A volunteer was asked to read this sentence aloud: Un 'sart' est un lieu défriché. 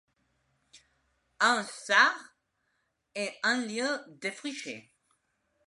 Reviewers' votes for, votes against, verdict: 2, 0, accepted